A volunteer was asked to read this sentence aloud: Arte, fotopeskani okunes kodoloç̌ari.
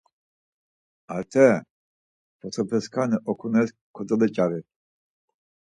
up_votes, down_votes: 4, 0